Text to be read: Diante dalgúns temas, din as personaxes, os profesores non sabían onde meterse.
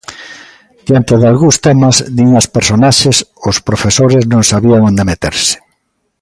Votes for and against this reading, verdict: 2, 0, accepted